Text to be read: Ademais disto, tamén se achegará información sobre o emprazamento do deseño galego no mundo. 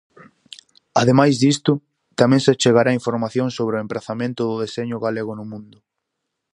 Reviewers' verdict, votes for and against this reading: accepted, 4, 0